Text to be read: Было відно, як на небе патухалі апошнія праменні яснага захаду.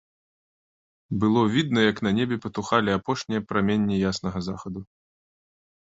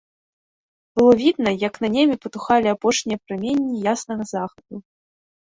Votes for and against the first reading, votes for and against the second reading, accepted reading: 2, 0, 0, 2, first